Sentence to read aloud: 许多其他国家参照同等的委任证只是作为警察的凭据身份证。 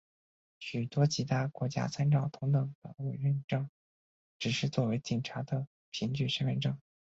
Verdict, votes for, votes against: rejected, 2, 2